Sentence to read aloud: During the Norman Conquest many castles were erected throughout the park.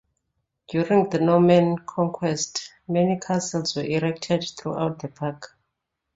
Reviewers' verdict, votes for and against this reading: rejected, 1, 2